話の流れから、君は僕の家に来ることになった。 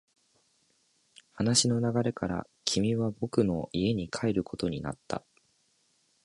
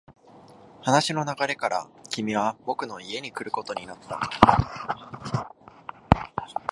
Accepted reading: second